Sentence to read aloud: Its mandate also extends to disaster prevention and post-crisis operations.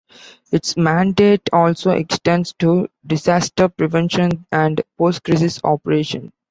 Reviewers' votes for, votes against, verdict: 2, 0, accepted